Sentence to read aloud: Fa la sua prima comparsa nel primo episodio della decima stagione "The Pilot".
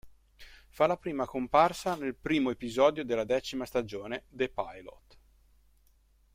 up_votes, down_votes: 0, 2